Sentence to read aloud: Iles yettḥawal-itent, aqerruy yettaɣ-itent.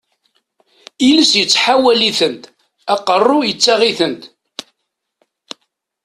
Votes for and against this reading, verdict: 2, 0, accepted